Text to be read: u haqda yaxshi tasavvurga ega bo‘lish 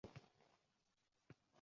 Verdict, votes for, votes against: rejected, 0, 2